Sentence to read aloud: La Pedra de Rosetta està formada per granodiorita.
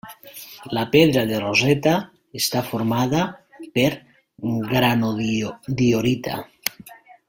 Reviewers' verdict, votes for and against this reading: rejected, 1, 2